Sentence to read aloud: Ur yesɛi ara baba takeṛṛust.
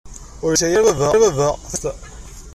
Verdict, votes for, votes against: rejected, 0, 2